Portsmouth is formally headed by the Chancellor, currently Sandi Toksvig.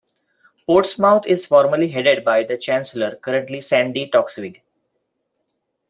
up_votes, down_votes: 2, 0